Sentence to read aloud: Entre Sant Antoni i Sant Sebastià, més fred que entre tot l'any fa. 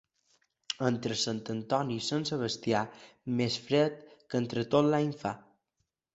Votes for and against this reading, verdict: 2, 0, accepted